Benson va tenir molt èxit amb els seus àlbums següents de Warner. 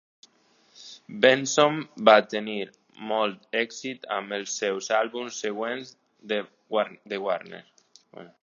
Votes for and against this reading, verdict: 0, 2, rejected